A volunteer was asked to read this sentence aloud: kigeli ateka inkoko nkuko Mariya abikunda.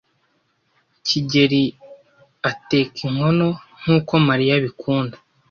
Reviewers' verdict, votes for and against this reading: rejected, 1, 2